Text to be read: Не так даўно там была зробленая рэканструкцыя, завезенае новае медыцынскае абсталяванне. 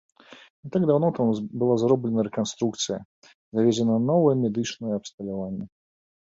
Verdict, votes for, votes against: rejected, 0, 2